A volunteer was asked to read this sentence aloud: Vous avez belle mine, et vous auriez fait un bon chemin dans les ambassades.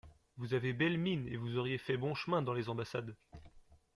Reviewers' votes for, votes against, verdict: 1, 2, rejected